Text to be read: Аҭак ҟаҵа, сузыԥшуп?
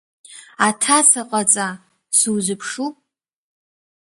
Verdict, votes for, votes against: rejected, 1, 2